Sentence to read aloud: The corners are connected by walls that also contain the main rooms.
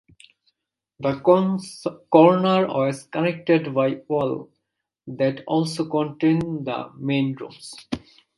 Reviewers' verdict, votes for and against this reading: rejected, 1, 3